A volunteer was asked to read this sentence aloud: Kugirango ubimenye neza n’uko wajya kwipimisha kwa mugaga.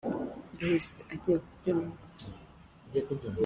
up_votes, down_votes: 0, 2